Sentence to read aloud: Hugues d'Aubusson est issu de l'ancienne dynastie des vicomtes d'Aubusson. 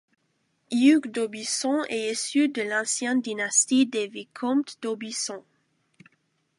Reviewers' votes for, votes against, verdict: 2, 1, accepted